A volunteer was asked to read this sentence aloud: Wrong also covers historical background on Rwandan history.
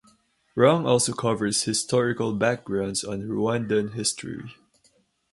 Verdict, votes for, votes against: rejected, 0, 4